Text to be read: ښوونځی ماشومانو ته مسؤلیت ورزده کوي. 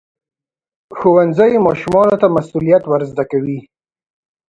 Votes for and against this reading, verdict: 2, 0, accepted